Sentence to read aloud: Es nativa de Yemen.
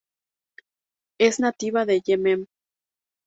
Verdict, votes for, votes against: rejected, 0, 2